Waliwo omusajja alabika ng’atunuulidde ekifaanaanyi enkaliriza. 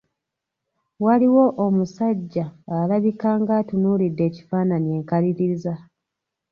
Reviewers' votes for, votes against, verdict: 2, 0, accepted